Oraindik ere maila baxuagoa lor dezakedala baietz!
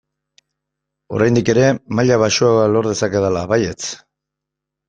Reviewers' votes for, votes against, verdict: 2, 0, accepted